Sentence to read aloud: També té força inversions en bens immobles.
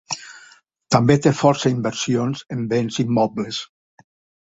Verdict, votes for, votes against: accepted, 4, 0